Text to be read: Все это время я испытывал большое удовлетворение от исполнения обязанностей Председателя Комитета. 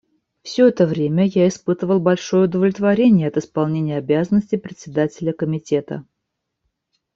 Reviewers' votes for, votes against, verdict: 2, 0, accepted